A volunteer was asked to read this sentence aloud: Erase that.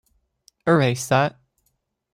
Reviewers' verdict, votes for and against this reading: accepted, 2, 0